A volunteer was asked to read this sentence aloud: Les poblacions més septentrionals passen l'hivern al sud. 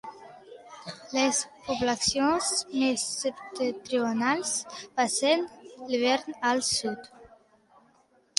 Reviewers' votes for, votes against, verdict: 2, 0, accepted